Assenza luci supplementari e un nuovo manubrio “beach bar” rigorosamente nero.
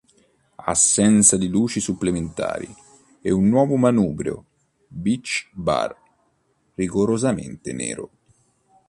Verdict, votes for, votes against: rejected, 1, 2